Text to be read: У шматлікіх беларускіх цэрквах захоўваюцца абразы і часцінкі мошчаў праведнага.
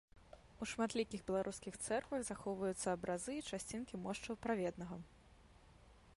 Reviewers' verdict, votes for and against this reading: rejected, 0, 2